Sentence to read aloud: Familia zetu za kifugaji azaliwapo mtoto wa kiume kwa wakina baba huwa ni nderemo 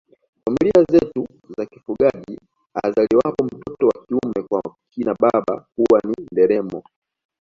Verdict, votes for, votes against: rejected, 0, 2